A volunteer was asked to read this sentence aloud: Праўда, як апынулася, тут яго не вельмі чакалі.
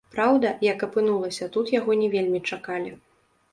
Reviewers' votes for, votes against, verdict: 0, 2, rejected